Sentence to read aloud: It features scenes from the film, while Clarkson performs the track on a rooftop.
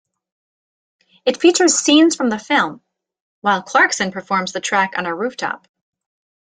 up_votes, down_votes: 2, 0